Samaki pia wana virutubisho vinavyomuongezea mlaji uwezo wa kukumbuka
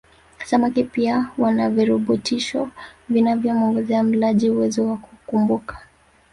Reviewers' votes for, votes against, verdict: 2, 3, rejected